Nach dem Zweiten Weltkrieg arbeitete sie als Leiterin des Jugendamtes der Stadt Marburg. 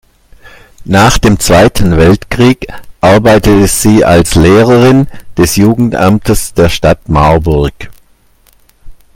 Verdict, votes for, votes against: rejected, 0, 2